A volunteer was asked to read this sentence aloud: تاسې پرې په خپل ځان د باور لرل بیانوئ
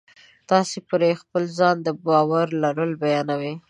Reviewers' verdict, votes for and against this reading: rejected, 0, 2